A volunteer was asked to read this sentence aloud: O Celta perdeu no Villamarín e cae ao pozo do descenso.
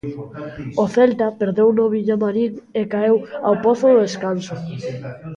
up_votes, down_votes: 0, 2